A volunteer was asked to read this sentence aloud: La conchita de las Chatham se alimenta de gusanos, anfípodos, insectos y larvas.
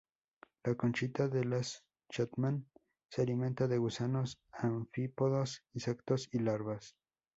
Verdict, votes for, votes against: rejected, 0, 2